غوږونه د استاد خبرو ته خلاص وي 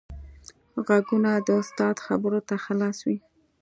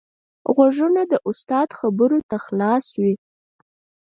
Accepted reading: first